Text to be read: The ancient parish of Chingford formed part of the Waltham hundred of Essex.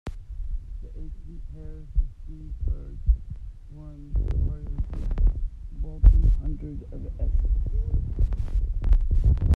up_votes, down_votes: 0, 2